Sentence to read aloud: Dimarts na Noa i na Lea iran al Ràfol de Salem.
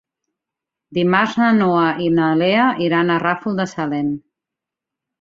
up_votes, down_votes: 0, 2